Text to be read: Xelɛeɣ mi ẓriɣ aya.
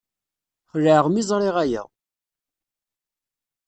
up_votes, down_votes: 2, 0